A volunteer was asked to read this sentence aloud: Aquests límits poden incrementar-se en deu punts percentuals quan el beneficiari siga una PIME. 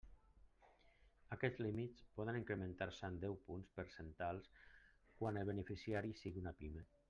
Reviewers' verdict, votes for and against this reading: rejected, 0, 2